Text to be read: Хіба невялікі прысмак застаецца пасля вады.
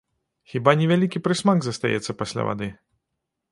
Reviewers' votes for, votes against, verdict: 1, 2, rejected